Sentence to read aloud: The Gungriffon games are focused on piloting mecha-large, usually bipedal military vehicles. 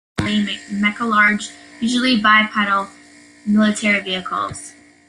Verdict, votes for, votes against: rejected, 0, 2